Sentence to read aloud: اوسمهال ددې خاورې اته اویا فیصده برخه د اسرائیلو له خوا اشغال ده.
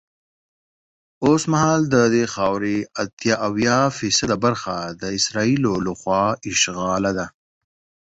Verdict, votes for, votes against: accepted, 21, 0